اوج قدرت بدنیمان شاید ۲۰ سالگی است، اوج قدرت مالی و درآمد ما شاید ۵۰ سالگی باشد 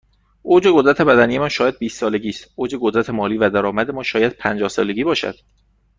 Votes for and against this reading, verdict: 0, 2, rejected